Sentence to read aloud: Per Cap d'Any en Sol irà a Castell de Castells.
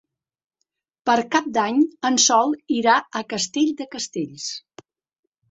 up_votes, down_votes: 3, 0